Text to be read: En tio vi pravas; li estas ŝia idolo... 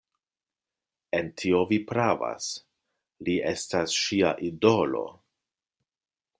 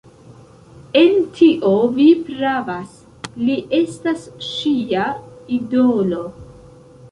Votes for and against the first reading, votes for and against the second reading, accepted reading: 2, 0, 0, 2, first